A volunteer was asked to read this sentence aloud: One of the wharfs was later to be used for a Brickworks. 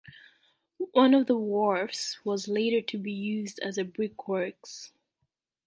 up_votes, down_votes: 1, 2